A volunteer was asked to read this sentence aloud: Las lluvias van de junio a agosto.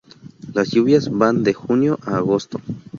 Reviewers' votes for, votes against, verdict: 2, 0, accepted